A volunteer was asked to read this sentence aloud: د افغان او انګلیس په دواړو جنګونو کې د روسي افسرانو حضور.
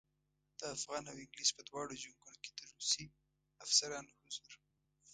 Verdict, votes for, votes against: accepted, 2, 0